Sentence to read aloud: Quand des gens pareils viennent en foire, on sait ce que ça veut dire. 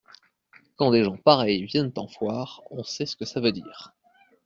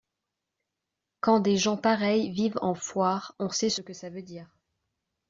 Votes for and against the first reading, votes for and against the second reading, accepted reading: 2, 1, 1, 2, first